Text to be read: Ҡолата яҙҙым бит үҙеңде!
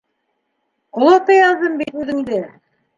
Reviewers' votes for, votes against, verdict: 2, 1, accepted